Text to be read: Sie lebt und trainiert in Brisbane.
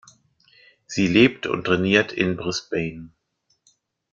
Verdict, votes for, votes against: accepted, 2, 0